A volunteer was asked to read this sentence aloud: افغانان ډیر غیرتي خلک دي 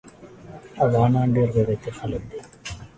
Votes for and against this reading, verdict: 2, 0, accepted